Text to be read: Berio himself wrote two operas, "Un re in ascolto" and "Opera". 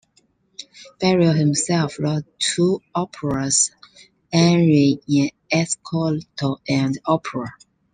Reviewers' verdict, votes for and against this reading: accepted, 2, 0